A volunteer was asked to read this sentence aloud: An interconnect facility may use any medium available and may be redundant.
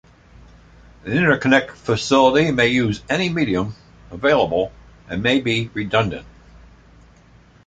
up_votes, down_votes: 2, 1